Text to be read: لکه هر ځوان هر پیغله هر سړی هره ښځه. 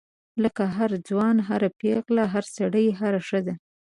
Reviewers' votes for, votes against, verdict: 2, 0, accepted